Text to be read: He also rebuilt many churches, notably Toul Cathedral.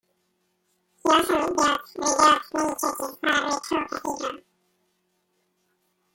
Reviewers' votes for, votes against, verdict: 1, 2, rejected